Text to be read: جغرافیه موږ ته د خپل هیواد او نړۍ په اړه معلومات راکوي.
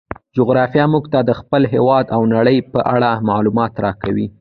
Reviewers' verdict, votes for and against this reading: rejected, 1, 2